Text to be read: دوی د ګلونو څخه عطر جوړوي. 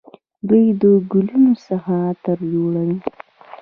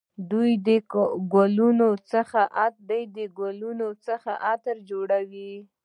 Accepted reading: first